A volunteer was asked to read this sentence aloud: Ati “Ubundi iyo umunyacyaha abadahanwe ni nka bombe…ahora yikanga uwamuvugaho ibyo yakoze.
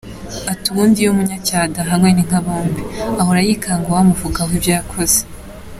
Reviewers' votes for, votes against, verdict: 2, 1, accepted